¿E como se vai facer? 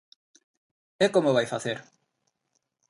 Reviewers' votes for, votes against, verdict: 0, 2, rejected